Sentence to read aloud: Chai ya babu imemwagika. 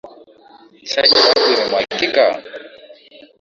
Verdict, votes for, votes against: rejected, 1, 2